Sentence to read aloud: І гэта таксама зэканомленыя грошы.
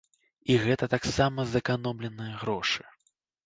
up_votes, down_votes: 2, 0